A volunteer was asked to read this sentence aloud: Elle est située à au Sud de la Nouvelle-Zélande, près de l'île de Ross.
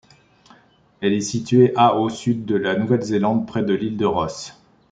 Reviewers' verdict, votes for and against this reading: accepted, 2, 0